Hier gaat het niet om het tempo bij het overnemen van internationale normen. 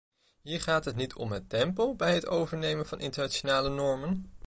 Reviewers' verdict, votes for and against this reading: rejected, 0, 2